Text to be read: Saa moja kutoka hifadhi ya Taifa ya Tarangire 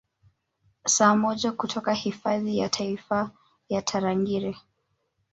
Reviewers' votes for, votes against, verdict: 3, 0, accepted